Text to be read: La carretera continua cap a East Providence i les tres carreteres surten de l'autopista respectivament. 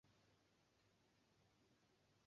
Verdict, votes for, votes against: rejected, 0, 2